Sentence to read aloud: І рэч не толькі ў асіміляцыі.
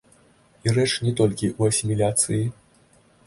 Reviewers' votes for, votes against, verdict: 2, 1, accepted